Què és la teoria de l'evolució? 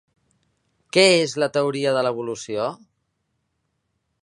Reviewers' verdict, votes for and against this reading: accepted, 3, 0